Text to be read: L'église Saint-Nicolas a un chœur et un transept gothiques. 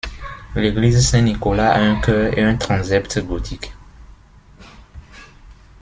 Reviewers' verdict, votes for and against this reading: accepted, 2, 0